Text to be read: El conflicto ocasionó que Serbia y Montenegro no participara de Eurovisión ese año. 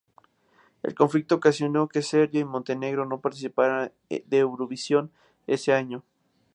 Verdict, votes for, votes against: accepted, 2, 0